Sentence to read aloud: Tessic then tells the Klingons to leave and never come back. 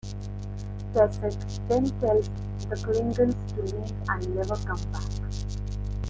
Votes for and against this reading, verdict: 1, 2, rejected